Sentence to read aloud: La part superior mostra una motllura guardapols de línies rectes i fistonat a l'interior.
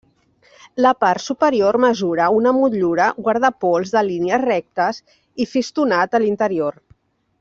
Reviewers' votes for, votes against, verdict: 0, 2, rejected